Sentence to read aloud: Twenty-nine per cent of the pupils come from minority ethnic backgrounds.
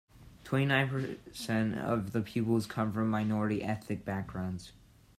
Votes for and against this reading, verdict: 2, 1, accepted